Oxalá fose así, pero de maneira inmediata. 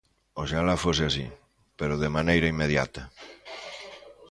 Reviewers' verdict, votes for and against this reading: accepted, 2, 0